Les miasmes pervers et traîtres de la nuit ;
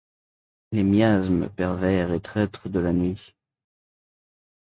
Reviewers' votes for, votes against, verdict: 2, 0, accepted